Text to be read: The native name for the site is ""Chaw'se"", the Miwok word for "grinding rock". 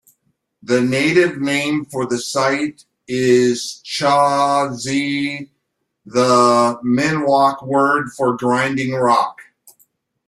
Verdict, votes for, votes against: rejected, 1, 2